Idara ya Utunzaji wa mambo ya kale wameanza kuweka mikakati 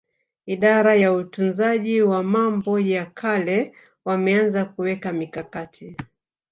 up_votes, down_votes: 2, 1